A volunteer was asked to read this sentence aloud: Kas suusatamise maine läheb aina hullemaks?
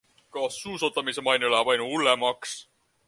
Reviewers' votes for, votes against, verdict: 2, 0, accepted